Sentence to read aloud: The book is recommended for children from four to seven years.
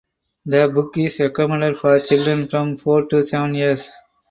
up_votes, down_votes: 4, 0